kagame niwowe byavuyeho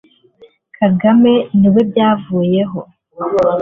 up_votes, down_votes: 0, 2